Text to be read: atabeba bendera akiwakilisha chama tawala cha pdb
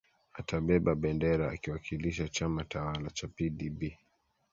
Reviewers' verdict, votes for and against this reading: accepted, 2, 1